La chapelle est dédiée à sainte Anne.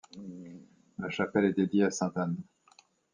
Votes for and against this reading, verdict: 3, 0, accepted